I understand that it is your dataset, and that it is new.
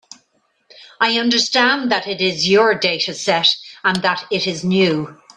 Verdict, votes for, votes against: accepted, 3, 0